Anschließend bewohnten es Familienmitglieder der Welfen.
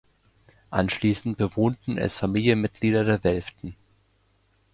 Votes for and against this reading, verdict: 0, 2, rejected